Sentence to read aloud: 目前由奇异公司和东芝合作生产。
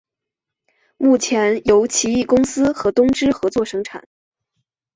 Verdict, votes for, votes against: accepted, 2, 0